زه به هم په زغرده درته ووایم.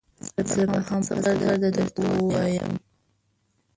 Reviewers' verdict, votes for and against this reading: rejected, 1, 2